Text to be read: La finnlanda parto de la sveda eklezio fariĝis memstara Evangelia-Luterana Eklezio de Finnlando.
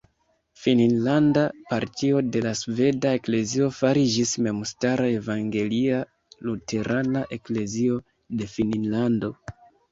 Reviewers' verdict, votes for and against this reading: accepted, 2, 1